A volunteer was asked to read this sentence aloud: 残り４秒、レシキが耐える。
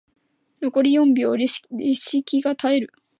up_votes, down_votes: 0, 2